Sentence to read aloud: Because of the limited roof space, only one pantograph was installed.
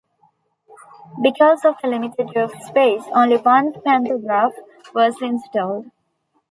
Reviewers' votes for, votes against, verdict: 2, 0, accepted